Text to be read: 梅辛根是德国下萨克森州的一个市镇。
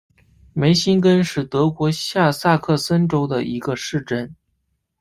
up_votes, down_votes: 0, 2